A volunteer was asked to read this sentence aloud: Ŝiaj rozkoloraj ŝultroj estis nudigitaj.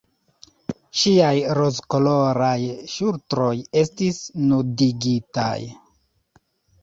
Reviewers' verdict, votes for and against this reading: accepted, 2, 1